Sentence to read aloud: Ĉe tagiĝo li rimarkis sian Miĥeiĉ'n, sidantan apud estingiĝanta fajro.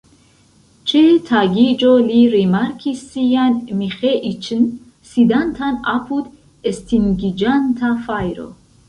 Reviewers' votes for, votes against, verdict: 0, 2, rejected